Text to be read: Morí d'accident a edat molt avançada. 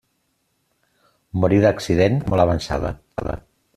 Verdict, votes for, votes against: rejected, 0, 2